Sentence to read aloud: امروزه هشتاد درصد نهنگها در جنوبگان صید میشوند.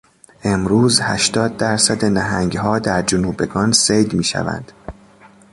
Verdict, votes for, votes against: rejected, 0, 2